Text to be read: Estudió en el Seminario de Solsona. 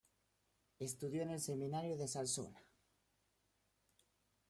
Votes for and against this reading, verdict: 1, 2, rejected